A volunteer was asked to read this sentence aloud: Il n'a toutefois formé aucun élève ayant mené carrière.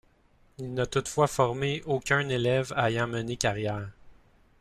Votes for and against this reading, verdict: 1, 2, rejected